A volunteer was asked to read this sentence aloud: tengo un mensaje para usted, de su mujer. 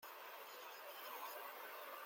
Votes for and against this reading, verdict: 0, 2, rejected